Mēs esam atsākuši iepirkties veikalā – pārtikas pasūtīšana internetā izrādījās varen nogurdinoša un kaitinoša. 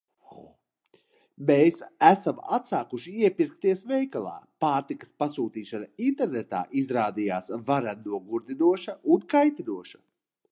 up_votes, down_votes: 2, 0